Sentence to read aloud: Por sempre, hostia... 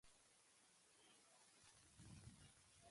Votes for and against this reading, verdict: 1, 2, rejected